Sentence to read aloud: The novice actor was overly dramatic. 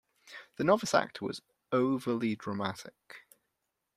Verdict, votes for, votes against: accepted, 2, 0